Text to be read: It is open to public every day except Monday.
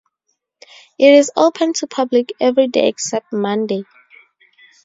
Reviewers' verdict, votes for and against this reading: accepted, 2, 0